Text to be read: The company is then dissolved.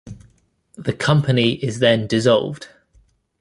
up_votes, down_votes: 2, 0